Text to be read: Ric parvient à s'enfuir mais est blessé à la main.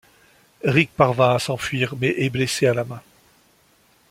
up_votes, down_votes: 1, 2